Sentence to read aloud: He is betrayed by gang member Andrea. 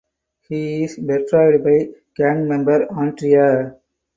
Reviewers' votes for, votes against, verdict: 4, 0, accepted